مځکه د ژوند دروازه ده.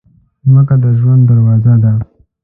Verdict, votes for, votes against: accepted, 2, 0